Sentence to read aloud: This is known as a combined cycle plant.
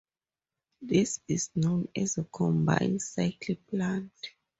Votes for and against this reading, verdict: 4, 0, accepted